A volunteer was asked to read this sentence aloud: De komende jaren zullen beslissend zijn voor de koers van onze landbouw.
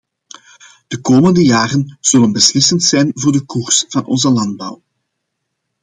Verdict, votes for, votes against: accepted, 2, 0